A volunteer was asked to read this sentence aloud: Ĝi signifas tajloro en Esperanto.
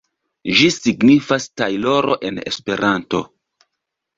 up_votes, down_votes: 2, 0